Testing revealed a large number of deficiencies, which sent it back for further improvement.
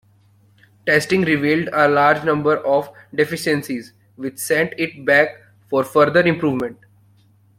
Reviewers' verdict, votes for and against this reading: accepted, 2, 0